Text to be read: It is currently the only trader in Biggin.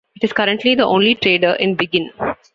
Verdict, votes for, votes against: accepted, 2, 1